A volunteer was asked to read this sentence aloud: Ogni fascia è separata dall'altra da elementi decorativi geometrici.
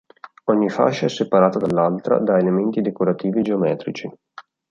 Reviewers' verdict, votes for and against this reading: accepted, 2, 0